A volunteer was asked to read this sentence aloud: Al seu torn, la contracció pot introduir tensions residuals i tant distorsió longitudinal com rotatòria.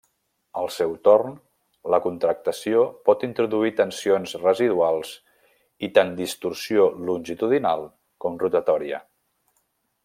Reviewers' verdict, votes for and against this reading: rejected, 1, 2